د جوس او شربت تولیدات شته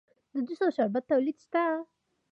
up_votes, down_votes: 2, 1